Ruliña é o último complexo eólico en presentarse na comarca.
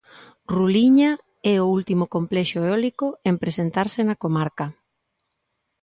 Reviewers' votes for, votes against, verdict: 2, 0, accepted